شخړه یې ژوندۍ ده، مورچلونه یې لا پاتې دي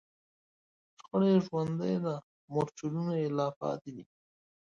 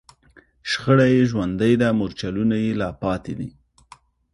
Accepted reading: second